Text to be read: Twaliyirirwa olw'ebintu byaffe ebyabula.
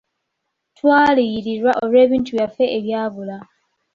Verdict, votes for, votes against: rejected, 0, 2